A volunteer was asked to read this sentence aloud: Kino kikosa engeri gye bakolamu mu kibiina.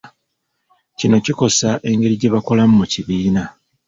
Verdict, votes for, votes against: accepted, 2, 1